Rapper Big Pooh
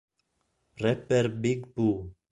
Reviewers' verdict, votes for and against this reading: accepted, 2, 1